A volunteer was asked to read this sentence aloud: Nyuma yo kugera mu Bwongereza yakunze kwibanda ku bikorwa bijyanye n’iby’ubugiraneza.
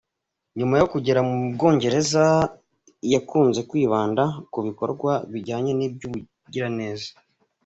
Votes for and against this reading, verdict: 2, 1, accepted